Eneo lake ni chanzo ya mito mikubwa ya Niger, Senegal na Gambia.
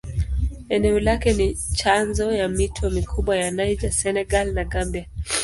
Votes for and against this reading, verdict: 2, 0, accepted